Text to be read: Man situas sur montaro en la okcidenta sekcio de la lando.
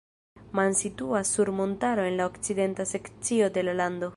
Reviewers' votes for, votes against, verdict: 0, 2, rejected